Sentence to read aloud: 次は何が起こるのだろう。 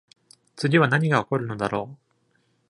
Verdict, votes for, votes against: accepted, 2, 0